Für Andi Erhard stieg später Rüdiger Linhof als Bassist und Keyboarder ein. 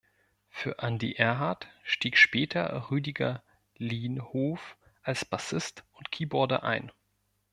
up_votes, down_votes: 2, 0